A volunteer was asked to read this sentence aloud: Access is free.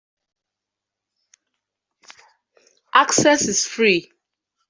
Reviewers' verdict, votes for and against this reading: accepted, 2, 0